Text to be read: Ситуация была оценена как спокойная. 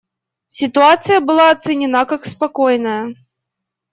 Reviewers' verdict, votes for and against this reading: accepted, 2, 0